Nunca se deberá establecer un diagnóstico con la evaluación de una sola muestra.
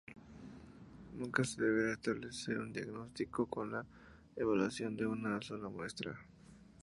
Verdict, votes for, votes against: accepted, 2, 0